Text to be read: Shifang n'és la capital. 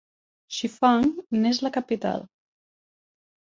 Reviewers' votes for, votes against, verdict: 3, 0, accepted